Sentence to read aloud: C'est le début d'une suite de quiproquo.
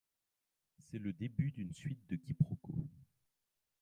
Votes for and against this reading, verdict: 1, 2, rejected